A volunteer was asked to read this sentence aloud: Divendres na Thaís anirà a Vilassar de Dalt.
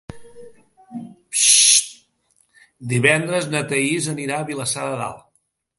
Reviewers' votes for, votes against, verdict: 1, 2, rejected